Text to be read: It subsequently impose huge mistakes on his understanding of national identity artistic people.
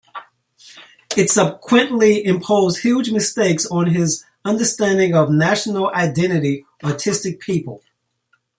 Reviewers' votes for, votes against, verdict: 2, 1, accepted